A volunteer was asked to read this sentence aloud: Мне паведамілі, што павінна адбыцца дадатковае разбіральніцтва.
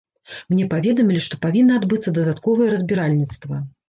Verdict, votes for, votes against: accepted, 2, 0